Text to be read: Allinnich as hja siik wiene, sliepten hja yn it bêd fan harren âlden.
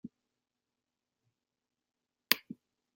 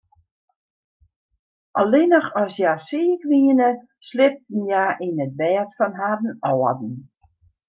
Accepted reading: second